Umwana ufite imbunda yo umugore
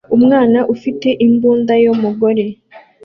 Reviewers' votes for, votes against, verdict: 2, 0, accepted